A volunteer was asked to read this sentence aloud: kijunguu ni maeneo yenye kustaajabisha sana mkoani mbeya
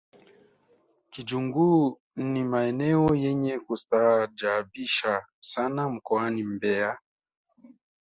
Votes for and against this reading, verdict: 1, 2, rejected